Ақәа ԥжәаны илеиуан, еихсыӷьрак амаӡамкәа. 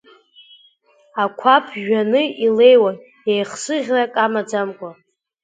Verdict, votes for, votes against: accepted, 2, 0